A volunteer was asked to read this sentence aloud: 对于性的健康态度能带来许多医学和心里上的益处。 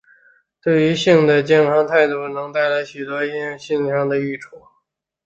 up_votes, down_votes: 0, 2